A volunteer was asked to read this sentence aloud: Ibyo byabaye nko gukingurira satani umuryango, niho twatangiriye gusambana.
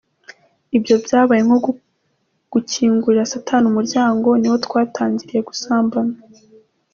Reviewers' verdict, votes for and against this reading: rejected, 1, 2